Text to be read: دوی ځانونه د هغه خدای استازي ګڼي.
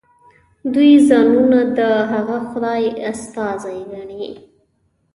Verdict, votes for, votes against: accepted, 2, 1